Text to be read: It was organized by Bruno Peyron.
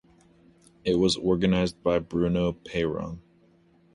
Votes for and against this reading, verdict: 2, 0, accepted